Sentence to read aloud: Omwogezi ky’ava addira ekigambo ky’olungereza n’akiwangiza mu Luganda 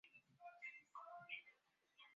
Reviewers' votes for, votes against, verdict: 0, 2, rejected